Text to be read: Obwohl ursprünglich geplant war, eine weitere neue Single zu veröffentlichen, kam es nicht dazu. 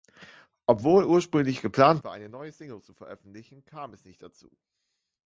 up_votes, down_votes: 0, 2